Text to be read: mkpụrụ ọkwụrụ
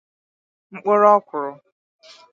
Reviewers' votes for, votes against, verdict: 4, 2, accepted